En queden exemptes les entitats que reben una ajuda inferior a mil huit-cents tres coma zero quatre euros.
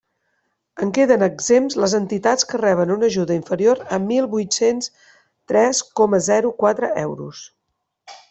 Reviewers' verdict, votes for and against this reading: rejected, 1, 2